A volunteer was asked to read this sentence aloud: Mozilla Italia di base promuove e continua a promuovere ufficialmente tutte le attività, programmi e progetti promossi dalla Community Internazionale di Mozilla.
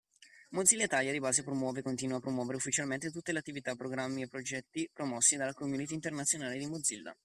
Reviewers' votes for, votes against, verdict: 1, 2, rejected